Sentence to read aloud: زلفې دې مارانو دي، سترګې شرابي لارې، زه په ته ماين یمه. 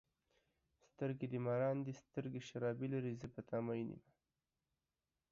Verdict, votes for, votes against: rejected, 1, 2